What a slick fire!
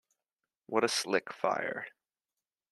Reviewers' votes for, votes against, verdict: 2, 0, accepted